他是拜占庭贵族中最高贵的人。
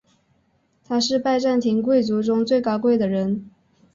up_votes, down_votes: 5, 0